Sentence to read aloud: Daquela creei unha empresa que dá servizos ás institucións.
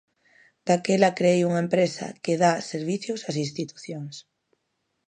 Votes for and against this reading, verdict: 0, 2, rejected